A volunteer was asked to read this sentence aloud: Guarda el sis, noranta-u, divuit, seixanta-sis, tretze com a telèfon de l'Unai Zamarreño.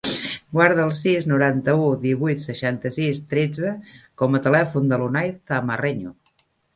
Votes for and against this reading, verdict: 1, 2, rejected